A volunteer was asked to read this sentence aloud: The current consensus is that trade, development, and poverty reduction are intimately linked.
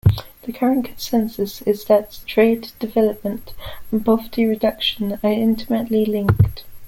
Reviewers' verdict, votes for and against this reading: accepted, 2, 0